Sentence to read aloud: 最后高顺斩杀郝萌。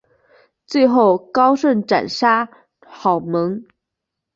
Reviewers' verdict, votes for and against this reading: accepted, 9, 0